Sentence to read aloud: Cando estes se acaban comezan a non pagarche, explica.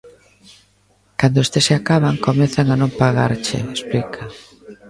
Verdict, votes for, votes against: accepted, 2, 0